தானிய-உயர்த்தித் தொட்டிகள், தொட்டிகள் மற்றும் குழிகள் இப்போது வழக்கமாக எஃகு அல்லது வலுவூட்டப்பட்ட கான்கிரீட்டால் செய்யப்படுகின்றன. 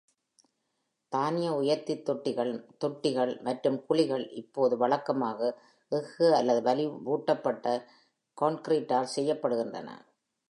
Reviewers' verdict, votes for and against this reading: rejected, 0, 2